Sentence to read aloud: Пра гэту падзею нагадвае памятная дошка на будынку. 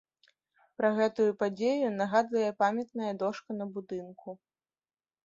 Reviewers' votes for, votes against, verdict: 1, 2, rejected